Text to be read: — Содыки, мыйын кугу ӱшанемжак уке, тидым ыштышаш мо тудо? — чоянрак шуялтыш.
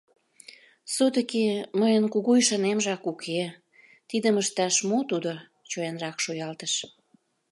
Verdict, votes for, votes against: rejected, 1, 2